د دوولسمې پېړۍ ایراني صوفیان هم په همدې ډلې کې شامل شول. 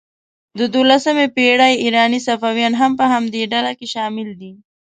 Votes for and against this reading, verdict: 0, 2, rejected